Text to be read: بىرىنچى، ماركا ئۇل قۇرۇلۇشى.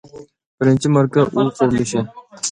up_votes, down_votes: 1, 2